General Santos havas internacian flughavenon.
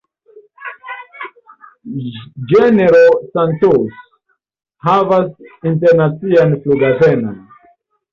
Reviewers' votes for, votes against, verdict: 0, 2, rejected